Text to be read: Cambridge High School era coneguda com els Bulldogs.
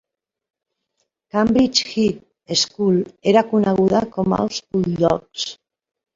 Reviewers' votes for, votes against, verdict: 1, 2, rejected